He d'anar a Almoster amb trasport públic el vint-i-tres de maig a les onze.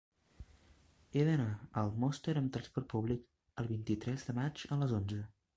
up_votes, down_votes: 1, 2